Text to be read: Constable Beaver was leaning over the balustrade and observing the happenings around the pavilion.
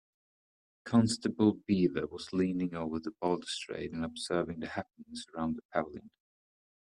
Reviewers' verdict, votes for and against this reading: accepted, 2, 0